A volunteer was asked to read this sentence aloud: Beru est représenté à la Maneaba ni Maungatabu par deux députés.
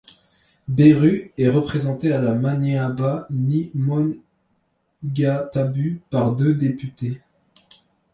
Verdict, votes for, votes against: rejected, 0, 2